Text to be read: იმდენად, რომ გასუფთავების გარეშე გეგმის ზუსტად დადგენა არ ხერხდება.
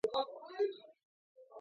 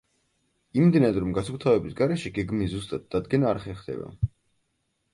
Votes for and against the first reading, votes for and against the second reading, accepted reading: 0, 2, 4, 0, second